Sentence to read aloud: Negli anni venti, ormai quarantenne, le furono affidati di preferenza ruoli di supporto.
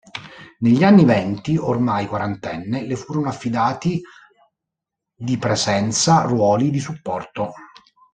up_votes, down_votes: 0, 2